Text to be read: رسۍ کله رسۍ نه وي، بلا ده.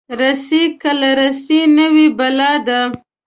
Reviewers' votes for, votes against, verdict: 1, 2, rejected